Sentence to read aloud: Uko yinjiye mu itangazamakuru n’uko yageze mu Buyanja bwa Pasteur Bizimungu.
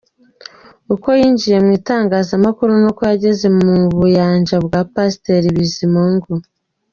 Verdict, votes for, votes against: accepted, 2, 1